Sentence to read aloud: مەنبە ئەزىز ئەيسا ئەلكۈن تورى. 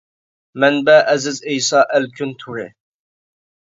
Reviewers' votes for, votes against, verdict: 2, 1, accepted